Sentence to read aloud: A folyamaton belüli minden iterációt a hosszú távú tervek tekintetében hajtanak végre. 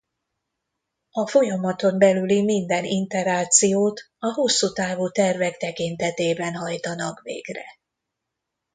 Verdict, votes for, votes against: rejected, 0, 2